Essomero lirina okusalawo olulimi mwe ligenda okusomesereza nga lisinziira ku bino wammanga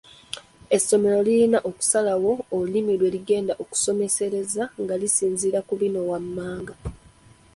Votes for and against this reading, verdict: 2, 1, accepted